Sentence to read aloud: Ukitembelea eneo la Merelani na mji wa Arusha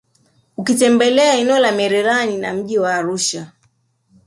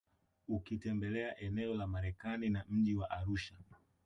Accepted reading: first